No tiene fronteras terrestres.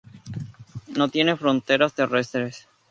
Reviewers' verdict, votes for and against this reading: accepted, 2, 0